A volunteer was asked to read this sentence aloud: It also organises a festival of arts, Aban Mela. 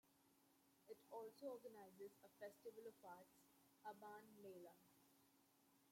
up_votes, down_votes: 0, 2